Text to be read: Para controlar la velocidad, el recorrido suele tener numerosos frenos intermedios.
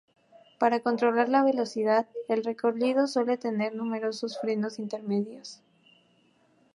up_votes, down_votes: 0, 2